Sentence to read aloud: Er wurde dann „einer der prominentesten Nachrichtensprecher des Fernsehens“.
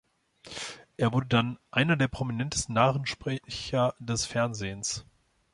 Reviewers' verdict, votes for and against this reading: rejected, 0, 2